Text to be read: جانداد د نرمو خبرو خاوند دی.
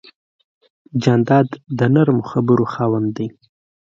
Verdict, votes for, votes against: accepted, 2, 0